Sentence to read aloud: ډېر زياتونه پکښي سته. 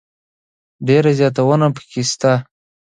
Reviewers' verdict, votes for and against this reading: accepted, 2, 0